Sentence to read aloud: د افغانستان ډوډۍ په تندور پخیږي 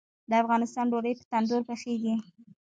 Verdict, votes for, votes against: rejected, 1, 2